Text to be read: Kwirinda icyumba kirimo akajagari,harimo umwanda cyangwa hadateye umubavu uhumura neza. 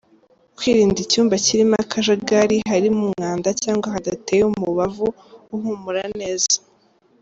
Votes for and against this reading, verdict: 2, 0, accepted